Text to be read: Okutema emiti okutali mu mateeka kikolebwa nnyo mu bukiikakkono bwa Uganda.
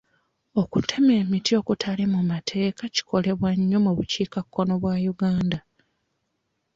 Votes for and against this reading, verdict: 2, 0, accepted